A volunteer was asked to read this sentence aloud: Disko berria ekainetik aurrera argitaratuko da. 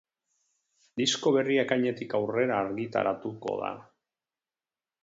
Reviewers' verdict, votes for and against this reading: accepted, 8, 0